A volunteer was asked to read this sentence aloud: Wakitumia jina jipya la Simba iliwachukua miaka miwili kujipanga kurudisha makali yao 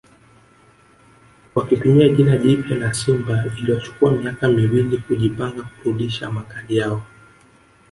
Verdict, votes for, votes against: rejected, 1, 2